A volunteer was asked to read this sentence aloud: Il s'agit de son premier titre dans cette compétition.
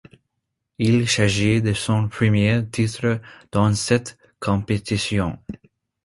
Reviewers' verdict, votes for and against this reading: accepted, 2, 0